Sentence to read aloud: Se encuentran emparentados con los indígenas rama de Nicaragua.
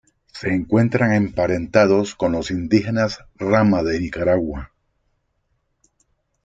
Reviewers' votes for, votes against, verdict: 2, 0, accepted